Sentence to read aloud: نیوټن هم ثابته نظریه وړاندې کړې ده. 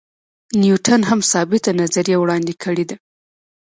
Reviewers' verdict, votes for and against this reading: rejected, 1, 2